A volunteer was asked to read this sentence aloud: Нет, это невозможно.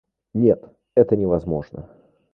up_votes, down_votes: 0, 2